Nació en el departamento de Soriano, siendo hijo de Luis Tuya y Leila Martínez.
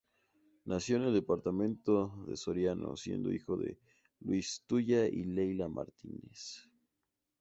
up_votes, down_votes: 2, 0